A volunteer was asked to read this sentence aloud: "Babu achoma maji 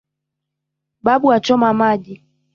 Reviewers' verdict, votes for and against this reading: rejected, 1, 2